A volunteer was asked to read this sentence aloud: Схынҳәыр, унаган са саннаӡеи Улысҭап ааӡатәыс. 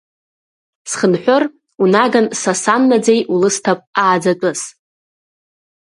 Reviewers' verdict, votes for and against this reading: accepted, 2, 0